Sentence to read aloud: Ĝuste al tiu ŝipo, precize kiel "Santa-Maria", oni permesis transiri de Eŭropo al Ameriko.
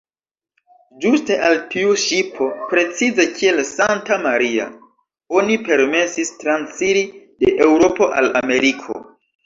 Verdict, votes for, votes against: accepted, 2, 1